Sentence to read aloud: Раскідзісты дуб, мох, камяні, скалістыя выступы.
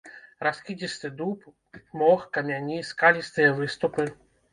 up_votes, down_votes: 0, 2